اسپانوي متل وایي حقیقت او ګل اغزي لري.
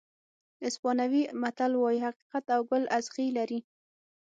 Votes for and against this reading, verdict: 6, 0, accepted